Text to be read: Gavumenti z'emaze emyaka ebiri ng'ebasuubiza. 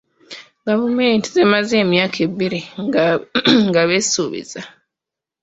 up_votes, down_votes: 1, 2